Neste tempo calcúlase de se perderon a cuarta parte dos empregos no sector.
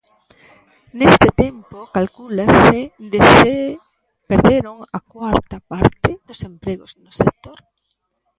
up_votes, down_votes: 0, 3